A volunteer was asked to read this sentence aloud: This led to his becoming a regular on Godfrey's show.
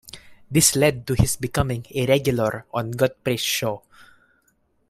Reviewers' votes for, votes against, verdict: 2, 0, accepted